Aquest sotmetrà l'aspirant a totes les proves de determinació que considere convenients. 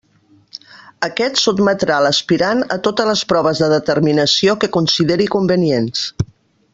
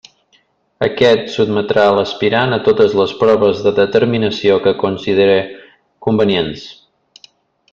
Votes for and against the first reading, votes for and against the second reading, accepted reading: 0, 2, 2, 0, second